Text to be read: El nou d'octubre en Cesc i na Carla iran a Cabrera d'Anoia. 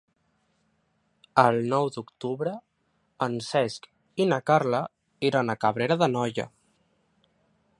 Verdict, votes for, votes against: accepted, 3, 0